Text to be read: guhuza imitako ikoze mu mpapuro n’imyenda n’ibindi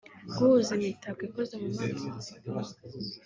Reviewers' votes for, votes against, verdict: 1, 2, rejected